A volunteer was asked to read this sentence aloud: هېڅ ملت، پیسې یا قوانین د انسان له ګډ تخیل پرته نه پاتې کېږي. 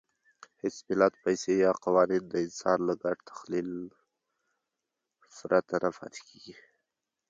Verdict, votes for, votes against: accepted, 2, 0